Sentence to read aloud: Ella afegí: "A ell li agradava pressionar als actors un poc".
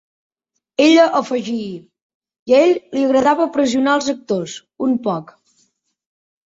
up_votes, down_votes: 2, 1